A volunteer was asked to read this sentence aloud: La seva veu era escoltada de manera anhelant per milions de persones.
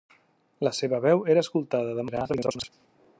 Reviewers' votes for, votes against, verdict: 0, 2, rejected